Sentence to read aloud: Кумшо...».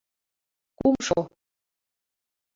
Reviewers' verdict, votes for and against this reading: accepted, 2, 1